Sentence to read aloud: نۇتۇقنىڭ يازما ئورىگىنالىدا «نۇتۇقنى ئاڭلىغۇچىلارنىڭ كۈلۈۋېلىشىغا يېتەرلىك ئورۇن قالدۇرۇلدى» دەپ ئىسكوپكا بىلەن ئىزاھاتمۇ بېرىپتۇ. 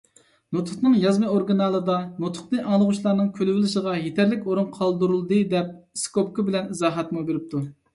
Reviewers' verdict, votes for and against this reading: accepted, 2, 0